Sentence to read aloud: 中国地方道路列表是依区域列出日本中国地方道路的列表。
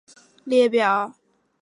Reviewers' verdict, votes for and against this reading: rejected, 2, 3